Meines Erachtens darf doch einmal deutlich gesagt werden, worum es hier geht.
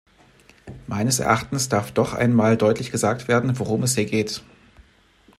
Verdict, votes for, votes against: accepted, 2, 0